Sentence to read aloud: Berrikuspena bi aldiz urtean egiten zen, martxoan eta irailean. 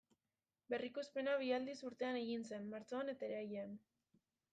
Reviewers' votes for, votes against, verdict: 1, 2, rejected